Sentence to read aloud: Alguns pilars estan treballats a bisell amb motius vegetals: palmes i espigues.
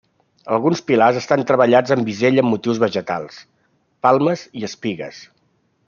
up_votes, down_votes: 1, 2